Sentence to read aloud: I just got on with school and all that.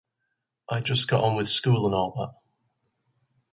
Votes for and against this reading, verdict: 2, 0, accepted